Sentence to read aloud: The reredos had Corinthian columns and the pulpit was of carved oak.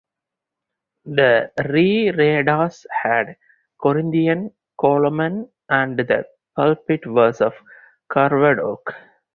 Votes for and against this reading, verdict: 0, 4, rejected